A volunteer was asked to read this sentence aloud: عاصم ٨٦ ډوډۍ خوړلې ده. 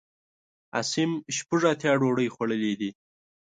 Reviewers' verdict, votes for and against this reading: rejected, 0, 2